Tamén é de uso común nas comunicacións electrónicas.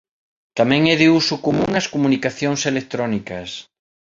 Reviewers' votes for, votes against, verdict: 0, 2, rejected